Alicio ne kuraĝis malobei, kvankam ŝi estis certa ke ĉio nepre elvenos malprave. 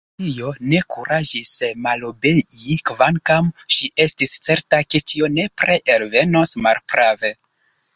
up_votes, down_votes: 2, 1